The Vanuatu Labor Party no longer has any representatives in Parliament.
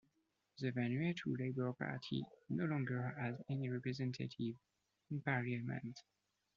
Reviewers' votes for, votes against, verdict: 2, 0, accepted